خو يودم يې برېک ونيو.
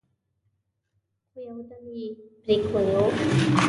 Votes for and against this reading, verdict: 1, 2, rejected